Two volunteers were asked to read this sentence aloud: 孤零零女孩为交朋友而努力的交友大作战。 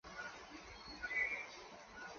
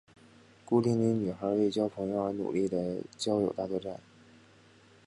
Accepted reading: second